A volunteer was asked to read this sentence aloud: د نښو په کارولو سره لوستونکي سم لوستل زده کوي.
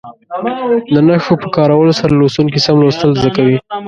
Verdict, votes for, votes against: rejected, 0, 2